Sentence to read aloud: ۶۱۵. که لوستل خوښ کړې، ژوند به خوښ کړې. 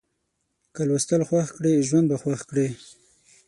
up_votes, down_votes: 0, 2